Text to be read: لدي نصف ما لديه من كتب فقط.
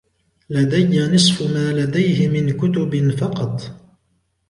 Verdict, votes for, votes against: accepted, 2, 0